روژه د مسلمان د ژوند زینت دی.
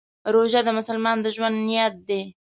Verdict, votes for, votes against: rejected, 1, 2